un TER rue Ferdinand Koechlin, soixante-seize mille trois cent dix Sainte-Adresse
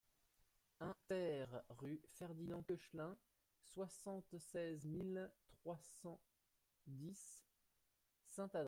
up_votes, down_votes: 0, 2